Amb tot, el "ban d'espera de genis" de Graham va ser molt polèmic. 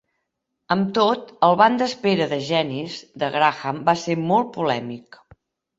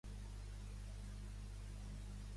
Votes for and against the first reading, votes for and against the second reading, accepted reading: 3, 0, 1, 2, first